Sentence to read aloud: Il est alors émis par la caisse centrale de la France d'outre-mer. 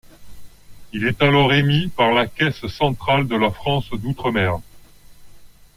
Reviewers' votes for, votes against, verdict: 2, 0, accepted